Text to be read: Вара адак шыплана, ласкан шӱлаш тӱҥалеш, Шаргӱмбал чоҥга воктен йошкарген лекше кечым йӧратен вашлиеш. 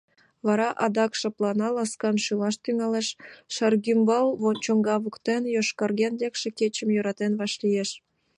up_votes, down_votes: 2, 1